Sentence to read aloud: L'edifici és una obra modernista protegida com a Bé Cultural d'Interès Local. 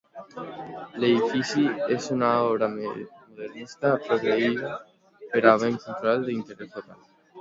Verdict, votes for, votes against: rejected, 0, 2